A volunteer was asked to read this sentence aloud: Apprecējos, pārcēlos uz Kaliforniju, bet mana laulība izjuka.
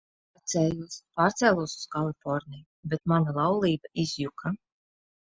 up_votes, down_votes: 2, 3